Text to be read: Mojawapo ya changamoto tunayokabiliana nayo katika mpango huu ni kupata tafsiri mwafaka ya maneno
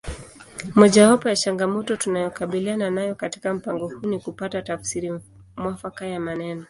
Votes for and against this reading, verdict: 2, 0, accepted